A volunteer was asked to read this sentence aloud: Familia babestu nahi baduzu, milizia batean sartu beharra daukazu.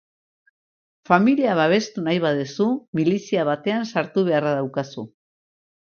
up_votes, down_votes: 0, 2